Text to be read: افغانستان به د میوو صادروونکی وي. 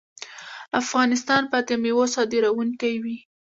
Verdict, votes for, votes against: rejected, 0, 2